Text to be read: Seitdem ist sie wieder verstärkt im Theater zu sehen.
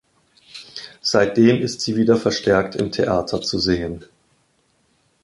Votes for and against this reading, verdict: 2, 0, accepted